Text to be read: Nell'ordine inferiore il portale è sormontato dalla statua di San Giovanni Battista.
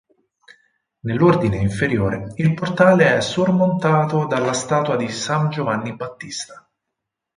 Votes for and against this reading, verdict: 4, 0, accepted